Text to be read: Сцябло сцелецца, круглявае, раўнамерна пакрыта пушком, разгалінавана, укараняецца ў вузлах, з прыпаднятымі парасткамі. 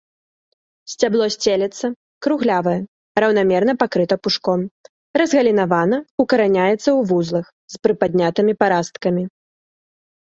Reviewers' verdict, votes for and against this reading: rejected, 0, 3